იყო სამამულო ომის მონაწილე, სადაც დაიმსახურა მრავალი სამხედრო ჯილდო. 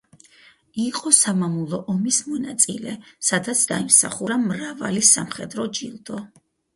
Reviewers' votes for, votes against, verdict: 4, 0, accepted